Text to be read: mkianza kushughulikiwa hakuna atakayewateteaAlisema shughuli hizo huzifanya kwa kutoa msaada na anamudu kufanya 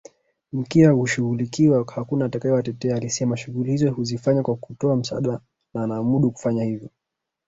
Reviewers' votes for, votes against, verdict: 1, 2, rejected